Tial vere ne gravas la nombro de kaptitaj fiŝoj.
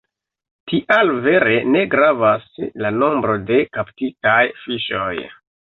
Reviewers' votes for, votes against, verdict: 2, 1, accepted